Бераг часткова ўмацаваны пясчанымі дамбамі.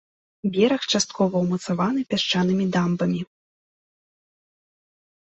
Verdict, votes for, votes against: accepted, 2, 0